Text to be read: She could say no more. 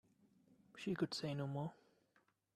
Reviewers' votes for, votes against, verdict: 2, 0, accepted